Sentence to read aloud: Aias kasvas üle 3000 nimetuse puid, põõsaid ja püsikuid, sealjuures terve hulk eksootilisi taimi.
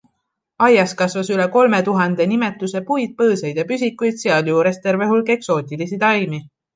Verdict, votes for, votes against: rejected, 0, 2